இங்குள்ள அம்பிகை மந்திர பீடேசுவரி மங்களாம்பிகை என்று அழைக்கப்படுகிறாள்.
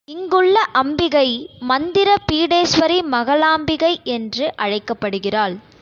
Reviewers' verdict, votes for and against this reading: rejected, 0, 2